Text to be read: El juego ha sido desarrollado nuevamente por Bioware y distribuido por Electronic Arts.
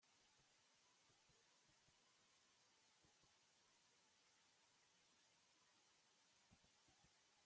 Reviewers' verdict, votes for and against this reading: rejected, 0, 2